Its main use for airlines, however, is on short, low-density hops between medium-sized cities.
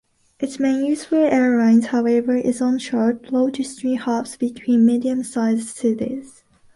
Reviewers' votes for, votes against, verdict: 1, 2, rejected